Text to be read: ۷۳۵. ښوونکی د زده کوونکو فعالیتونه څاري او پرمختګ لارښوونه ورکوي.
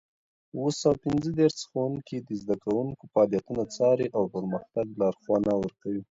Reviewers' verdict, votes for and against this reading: rejected, 0, 2